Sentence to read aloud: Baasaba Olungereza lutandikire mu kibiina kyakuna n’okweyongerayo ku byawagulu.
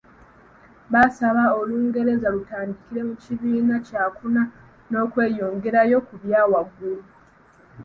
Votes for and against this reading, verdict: 1, 2, rejected